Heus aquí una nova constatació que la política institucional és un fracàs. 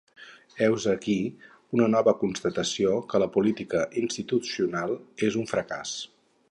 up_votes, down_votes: 4, 0